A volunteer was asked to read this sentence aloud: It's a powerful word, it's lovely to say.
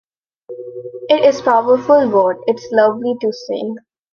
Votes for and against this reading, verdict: 0, 2, rejected